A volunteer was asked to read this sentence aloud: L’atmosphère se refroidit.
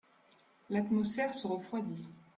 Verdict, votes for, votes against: accepted, 2, 0